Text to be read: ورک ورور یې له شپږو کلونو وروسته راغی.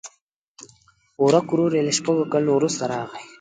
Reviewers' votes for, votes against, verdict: 2, 0, accepted